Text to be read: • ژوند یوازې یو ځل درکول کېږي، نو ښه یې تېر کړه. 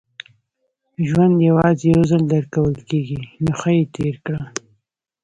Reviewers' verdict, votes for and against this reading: rejected, 1, 2